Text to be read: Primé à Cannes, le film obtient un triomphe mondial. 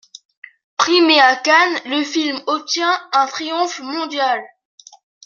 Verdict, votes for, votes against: accepted, 2, 0